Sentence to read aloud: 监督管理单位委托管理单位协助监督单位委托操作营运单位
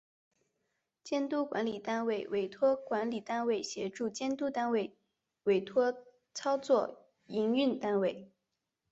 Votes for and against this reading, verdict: 2, 0, accepted